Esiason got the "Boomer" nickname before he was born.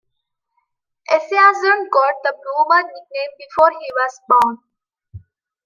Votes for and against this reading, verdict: 0, 2, rejected